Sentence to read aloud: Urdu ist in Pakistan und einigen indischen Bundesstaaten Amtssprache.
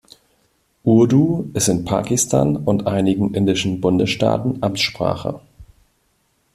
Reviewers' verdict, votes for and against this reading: accepted, 2, 0